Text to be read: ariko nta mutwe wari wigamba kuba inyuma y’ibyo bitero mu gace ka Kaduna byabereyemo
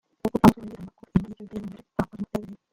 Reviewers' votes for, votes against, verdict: 0, 2, rejected